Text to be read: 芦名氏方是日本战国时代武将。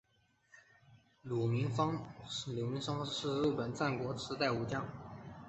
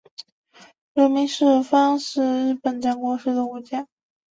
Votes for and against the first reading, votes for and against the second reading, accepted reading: 2, 0, 0, 2, first